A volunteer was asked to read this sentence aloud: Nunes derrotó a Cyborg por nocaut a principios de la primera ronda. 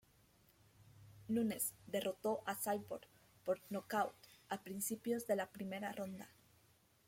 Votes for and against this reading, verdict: 1, 2, rejected